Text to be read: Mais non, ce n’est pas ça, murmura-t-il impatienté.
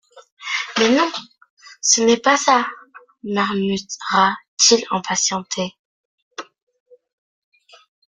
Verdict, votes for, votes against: rejected, 1, 2